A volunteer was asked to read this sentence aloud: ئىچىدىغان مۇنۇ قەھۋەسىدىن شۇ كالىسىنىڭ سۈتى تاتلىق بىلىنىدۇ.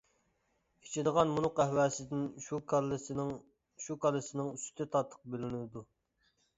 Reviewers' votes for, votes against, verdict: 0, 2, rejected